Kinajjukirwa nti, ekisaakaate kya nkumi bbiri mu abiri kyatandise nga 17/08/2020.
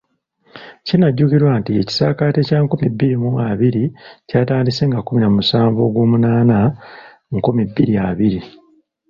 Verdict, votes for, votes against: rejected, 0, 2